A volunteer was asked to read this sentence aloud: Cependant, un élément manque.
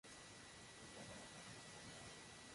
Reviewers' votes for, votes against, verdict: 0, 2, rejected